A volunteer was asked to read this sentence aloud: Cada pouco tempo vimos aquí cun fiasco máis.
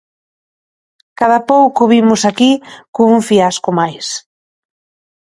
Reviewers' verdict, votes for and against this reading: rejected, 0, 2